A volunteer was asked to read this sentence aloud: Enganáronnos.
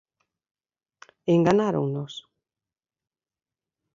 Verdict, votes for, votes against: accepted, 2, 0